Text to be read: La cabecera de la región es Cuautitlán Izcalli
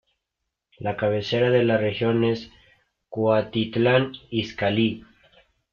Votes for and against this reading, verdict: 0, 2, rejected